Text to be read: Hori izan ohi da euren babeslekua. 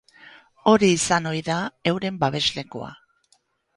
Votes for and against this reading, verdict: 2, 0, accepted